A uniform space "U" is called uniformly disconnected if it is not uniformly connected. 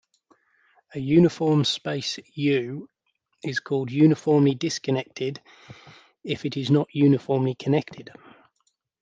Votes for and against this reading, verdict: 2, 0, accepted